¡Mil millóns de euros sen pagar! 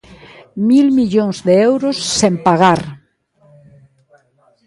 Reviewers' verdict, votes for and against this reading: rejected, 1, 2